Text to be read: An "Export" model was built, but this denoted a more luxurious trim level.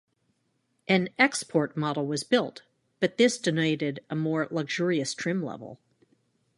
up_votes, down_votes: 2, 0